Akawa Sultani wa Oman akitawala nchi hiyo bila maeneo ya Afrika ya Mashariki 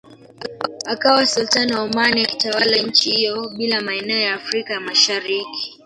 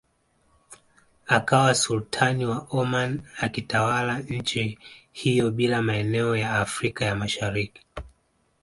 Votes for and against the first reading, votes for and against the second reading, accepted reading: 1, 2, 2, 1, second